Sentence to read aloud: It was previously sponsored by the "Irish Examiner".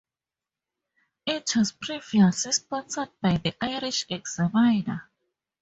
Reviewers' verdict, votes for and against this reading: rejected, 2, 4